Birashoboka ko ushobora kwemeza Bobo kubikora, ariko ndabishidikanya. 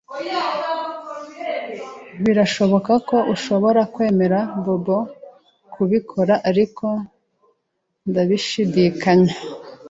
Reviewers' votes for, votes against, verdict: 0, 2, rejected